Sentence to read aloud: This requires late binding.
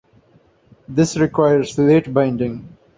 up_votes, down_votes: 2, 0